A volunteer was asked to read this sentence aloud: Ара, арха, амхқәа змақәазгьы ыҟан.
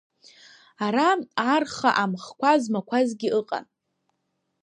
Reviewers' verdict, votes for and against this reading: accepted, 2, 0